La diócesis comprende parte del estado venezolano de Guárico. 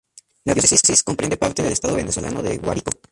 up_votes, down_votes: 0, 2